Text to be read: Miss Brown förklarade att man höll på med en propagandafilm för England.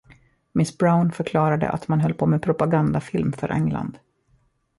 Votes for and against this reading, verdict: 2, 1, accepted